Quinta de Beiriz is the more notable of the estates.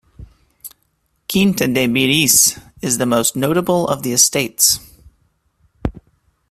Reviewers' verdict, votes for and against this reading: rejected, 0, 2